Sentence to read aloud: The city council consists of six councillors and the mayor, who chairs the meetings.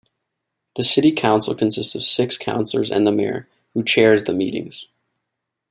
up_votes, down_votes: 2, 0